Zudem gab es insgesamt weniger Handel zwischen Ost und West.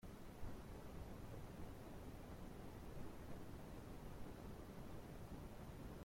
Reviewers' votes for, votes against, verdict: 0, 2, rejected